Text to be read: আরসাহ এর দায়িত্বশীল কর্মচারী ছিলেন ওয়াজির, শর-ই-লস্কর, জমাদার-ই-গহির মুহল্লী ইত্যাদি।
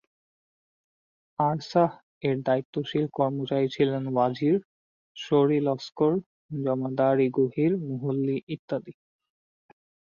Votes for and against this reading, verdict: 4, 0, accepted